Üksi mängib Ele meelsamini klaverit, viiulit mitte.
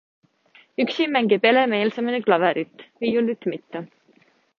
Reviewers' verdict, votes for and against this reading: accepted, 2, 0